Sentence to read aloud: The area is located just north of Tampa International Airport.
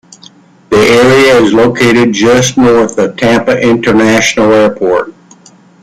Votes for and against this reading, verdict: 2, 1, accepted